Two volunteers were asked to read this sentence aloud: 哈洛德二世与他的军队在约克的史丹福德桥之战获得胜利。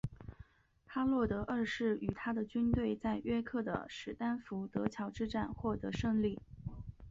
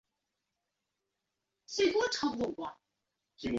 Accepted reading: first